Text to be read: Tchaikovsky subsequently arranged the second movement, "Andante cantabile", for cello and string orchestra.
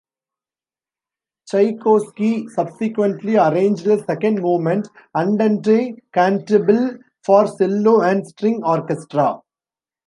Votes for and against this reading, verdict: 0, 2, rejected